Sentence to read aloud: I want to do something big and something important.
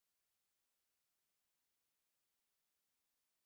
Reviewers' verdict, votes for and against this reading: rejected, 0, 2